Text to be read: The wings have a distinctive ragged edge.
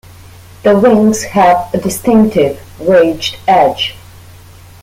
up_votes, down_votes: 0, 2